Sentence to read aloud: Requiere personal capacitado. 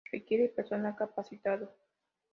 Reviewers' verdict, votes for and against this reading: accepted, 2, 0